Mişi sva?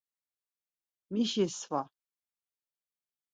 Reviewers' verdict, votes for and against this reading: accepted, 4, 0